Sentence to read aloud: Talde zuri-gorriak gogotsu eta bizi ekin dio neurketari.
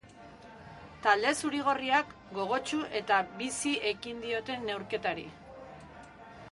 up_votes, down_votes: 0, 2